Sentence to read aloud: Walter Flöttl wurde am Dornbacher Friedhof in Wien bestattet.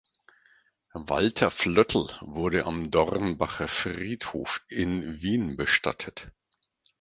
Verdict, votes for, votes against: rejected, 2, 4